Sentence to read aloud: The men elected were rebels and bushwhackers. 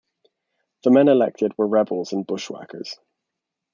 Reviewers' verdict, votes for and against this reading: accepted, 2, 0